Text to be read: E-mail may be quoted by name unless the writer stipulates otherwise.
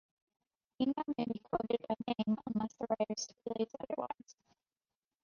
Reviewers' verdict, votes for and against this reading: rejected, 0, 2